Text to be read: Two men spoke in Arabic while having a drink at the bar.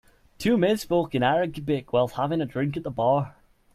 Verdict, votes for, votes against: rejected, 0, 2